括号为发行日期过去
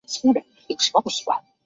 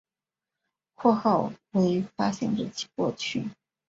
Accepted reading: second